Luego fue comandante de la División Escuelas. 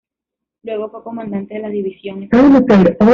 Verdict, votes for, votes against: rejected, 1, 2